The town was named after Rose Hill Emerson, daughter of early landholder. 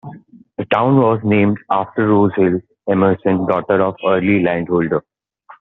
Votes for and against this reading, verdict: 2, 0, accepted